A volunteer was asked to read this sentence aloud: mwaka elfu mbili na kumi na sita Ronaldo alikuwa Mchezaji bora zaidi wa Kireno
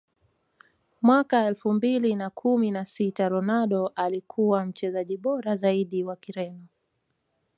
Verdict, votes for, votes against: rejected, 0, 2